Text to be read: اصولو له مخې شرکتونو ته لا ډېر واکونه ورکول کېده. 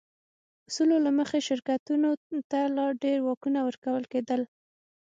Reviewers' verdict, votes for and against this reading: accepted, 6, 0